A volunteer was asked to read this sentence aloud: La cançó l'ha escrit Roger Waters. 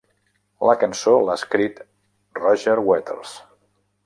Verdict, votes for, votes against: rejected, 1, 2